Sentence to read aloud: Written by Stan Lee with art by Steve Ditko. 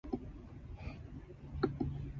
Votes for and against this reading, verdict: 0, 2, rejected